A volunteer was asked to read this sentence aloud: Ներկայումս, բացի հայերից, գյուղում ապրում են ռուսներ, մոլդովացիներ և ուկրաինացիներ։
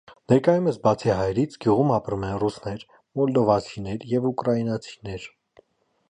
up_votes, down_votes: 2, 0